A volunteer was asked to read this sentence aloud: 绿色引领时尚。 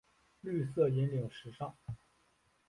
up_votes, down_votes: 2, 3